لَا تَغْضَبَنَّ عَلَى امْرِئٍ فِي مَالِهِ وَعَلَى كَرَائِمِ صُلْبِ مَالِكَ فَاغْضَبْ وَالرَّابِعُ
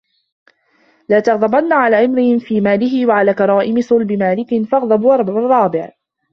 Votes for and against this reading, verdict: 1, 2, rejected